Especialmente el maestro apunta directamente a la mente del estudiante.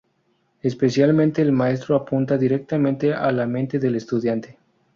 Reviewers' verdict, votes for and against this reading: rejected, 2, 2